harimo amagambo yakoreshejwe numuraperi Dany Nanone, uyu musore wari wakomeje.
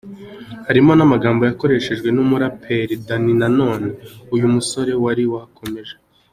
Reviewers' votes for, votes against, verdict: 2, 1, accepted